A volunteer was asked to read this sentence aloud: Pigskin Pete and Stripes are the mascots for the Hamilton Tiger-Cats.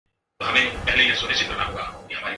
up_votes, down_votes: 0, 2